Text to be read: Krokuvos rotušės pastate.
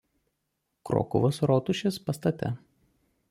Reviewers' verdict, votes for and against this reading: accepted, 2, 0